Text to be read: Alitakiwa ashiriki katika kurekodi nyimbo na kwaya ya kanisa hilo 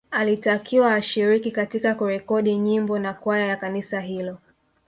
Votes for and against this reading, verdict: 2, 0, accepted